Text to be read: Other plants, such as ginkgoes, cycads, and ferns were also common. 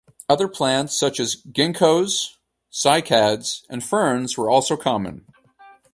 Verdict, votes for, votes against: accepted, 4, 0